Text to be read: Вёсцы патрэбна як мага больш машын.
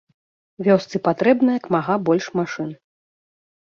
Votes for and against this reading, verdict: 2, 1, accepted